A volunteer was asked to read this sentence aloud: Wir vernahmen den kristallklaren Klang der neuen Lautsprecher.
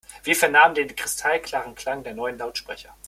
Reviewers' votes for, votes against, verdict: 2, 0, accepted